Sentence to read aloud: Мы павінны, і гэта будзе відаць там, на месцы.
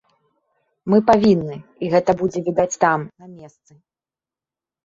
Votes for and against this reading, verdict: 0, 2, rejected